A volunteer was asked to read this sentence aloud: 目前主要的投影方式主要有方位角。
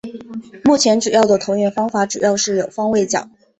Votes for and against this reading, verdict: 2, 0, accepted